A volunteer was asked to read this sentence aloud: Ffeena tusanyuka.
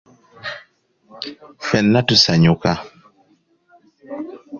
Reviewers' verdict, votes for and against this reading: accepted, 2, 0